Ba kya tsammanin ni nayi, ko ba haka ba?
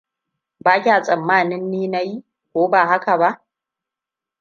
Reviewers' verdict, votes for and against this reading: accepted, 2, 0